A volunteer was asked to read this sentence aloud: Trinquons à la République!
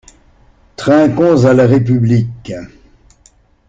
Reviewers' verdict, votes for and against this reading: accepted, 2, 0